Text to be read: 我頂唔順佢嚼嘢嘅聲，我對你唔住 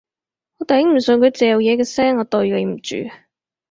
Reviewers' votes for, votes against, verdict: 4, 2, accepted